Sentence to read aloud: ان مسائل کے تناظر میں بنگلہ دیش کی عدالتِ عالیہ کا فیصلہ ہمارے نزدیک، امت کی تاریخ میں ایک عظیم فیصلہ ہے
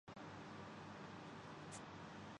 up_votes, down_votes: 0, 2